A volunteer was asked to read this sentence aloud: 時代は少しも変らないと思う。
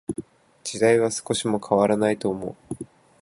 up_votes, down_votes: 5, 0